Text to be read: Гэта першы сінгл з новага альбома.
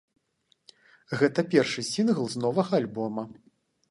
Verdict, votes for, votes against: accepted, 2, 0